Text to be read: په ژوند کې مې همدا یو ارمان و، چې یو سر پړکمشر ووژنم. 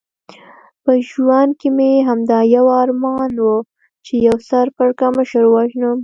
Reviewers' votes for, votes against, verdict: 2, 0, accepted